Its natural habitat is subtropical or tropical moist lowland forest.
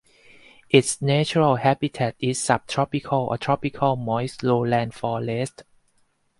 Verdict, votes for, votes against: rejected, 2, 2